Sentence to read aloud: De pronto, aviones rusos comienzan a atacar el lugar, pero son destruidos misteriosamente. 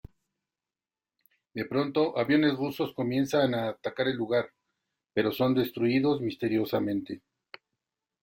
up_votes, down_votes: 2, 0